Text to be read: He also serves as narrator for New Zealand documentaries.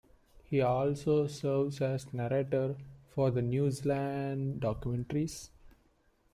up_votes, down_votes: 0, 2